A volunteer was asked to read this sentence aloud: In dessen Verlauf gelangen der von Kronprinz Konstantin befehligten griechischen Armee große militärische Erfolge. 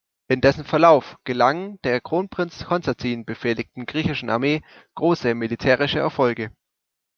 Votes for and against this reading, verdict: 0, 2, rejected